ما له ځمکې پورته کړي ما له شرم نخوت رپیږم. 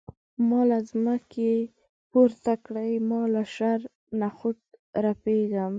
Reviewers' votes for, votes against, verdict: 2, 0, accepted